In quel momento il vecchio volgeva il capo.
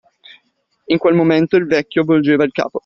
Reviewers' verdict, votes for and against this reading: accepted, 2, 0